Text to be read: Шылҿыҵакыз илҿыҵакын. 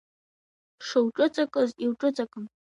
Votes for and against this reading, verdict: 2, 1, accepted